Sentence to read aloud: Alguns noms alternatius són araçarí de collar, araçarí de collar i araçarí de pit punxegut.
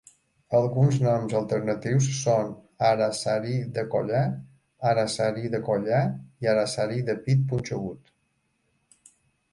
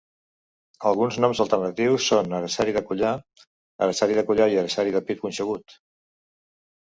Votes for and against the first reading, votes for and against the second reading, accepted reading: 2, 1, 1, 2, first